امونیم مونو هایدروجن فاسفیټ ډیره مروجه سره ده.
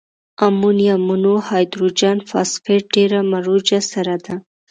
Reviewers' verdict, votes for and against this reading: accepted, 2, 0